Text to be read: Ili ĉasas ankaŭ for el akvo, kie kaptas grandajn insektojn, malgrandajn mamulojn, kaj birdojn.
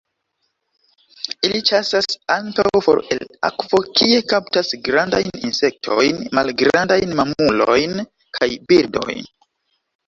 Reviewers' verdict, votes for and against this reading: rejected, 1, 2